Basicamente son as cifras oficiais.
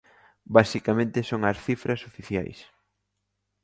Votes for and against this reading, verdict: 2, 0, accepted